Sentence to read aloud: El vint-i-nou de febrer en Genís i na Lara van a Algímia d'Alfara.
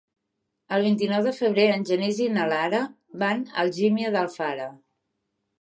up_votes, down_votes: 3, 0